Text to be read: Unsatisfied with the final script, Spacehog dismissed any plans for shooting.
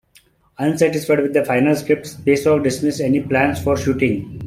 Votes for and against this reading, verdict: 2, 0, accepted